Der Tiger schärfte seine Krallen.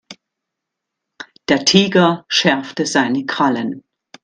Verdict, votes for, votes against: accepted, 2, 0